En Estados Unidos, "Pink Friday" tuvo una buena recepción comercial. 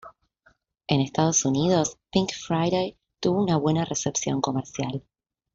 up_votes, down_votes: 2, 0